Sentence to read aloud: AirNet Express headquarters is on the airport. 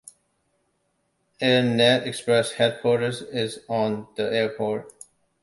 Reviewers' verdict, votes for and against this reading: accepted, 2, 0